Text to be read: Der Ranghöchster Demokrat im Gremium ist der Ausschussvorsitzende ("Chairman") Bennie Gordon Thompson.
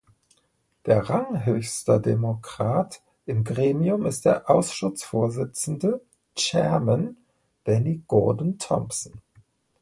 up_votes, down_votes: 0, 2